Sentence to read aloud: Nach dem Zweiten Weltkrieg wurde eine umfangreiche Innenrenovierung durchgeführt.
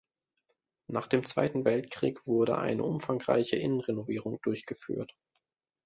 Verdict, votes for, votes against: accepted, 2, 0